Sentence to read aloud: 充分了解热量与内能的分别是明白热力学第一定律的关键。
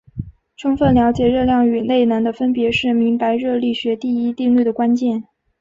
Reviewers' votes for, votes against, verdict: 2, 0, accepted